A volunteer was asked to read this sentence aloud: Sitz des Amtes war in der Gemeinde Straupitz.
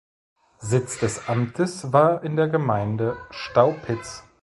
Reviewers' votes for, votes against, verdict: 1, 2, rejected